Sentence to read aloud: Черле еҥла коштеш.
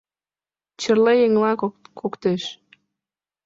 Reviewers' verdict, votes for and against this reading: rejected, 1, 2